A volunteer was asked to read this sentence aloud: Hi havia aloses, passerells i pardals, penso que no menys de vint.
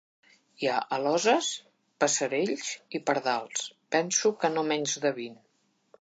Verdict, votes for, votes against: rejected, 1, 2